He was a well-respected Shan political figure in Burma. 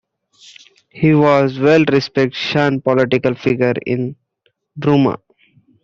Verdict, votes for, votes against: rejected, 1, 2